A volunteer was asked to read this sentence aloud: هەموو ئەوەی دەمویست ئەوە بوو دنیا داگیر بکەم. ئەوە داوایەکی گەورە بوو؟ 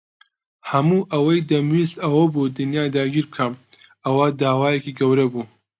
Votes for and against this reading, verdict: 2, 0, accepted